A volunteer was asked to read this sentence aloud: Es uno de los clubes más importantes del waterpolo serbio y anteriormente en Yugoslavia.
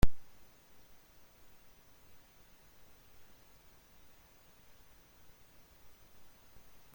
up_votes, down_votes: 0, 2